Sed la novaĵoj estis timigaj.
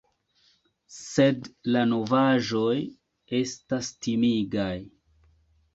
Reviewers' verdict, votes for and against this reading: rejected, 0, 2